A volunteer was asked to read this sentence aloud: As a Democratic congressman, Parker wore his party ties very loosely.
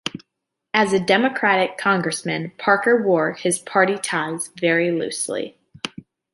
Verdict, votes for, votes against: accepted, 2, 0